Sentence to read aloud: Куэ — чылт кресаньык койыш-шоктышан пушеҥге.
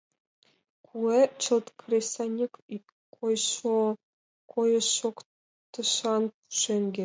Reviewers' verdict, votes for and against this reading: rejected, 0, 3